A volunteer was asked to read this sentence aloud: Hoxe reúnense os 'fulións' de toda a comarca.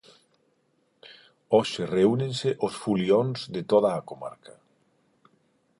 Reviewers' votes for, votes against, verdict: 4, 0, accepted